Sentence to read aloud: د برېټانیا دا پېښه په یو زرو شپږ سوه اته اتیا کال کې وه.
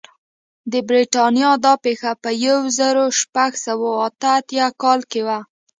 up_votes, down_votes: 2, 0